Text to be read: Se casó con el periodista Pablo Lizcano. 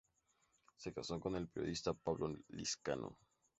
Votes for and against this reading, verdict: 2, 0, accepted